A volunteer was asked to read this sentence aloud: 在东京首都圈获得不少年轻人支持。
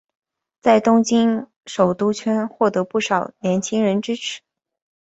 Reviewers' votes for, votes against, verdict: 2, 0, accepted